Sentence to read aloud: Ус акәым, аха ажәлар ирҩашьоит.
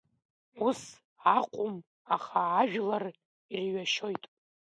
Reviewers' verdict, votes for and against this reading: accepted, 3, 1